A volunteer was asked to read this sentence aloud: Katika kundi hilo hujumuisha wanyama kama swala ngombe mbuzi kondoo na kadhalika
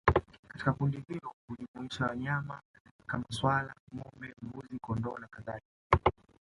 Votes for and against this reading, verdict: 0, 2, rejected